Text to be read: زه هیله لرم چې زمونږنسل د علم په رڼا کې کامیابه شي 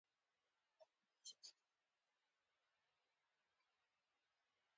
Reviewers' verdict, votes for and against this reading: rejected, 0, 2